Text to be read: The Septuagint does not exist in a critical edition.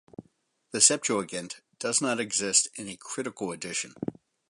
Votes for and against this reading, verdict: 2, 0, accepted